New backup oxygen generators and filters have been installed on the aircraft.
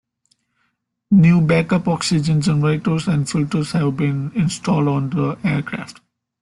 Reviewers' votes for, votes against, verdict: 2, 0, accepted